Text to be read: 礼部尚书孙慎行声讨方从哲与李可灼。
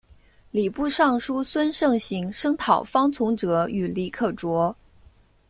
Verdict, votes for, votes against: accepted, 2, 0